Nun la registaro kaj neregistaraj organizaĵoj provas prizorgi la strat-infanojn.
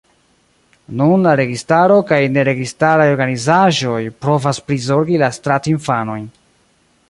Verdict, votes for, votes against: rejected, 0, 2